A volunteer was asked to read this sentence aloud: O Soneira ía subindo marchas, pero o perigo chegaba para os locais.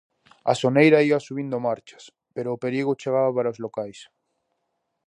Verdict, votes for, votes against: rejected, 2, 2